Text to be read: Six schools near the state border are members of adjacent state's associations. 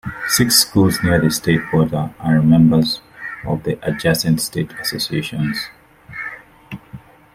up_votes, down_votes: 1, 2